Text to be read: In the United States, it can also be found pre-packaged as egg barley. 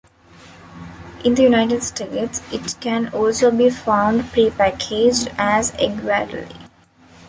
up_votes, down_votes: 0, 2